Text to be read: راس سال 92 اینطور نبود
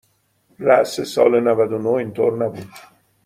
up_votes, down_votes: 0, 2